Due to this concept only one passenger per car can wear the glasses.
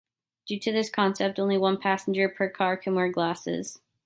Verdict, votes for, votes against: rejected, 1, 2